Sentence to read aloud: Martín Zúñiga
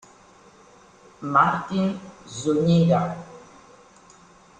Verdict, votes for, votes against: rejected, 0, 2